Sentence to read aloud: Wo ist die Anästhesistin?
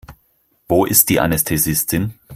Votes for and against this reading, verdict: 4, 0, accepted